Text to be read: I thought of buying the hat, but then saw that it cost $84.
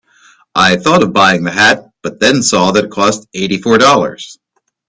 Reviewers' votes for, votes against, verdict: 0, 2, rejected